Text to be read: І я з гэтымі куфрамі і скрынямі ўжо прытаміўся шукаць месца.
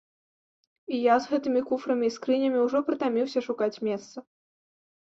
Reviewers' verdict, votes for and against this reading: accepted, 2, 0